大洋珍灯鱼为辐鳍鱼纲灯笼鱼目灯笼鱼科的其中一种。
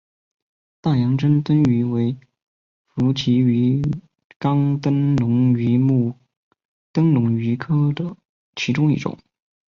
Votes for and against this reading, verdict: 1, 3, rejected